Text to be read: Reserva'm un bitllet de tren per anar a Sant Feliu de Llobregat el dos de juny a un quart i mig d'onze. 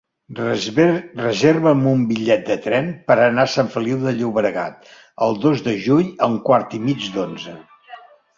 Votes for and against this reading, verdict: 1, 2, rejected